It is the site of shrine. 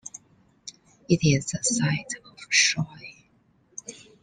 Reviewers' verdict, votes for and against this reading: rejected, 0, 2